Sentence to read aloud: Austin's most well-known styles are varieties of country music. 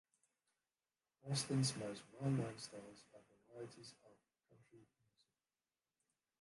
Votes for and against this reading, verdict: 0, 2, rejected